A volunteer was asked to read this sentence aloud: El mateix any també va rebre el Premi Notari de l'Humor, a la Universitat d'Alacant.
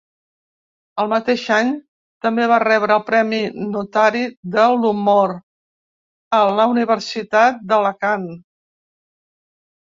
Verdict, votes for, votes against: accepted, 2, 0